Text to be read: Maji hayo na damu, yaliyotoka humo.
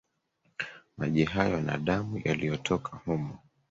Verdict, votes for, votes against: accepted, 3, 1